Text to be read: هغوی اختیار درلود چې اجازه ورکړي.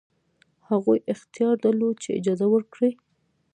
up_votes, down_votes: 1, 2